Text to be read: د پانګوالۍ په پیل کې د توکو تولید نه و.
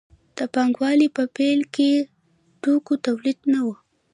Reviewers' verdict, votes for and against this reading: rejected, 0, 2